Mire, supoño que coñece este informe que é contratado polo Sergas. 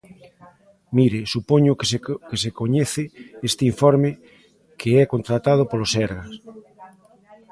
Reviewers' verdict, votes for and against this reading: rejected, 0, 2